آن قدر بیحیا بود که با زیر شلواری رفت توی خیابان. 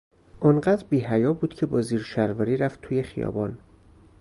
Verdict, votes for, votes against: rejected, 0, 2